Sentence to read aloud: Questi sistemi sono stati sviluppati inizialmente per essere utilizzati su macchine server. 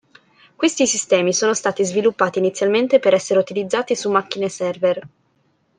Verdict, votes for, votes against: accepted, 2, 0